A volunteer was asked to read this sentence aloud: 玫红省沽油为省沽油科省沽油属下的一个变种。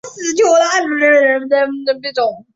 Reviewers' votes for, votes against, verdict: 0, 5, rejected